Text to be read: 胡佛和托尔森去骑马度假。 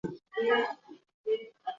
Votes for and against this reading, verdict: 0, 2, rejected